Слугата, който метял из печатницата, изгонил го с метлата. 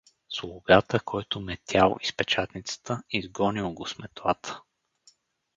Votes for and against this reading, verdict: 4, 0, accepted